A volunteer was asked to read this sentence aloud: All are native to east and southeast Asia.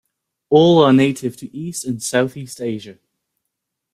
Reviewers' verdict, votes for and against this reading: accepted, 2, 0